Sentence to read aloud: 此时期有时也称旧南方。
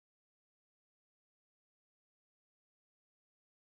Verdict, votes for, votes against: rejected, 0, 2